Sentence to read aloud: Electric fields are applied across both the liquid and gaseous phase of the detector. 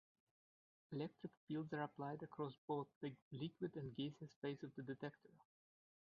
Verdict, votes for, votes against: rejected, 0, 2